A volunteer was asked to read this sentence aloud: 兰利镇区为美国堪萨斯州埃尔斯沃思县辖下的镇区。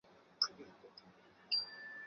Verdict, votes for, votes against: rejected, 0, 3